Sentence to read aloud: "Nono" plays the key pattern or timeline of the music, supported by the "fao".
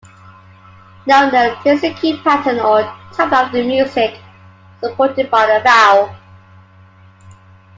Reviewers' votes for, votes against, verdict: 1, 2, rejected